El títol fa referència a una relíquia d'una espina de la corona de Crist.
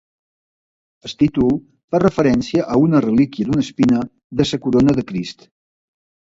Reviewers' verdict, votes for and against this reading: rejected, 0, 2